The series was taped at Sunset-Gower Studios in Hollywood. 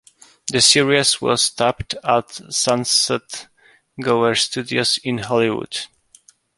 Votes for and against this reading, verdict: 2, 0, accepted